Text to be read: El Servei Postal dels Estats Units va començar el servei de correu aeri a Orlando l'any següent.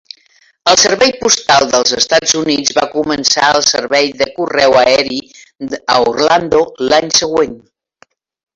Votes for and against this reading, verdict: 1, 2, rejected